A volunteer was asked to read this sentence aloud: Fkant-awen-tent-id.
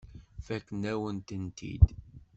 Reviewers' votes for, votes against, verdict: 1, 2, rejected